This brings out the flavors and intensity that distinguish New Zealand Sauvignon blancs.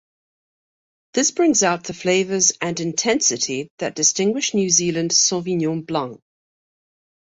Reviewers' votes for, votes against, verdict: 2, 0, accepted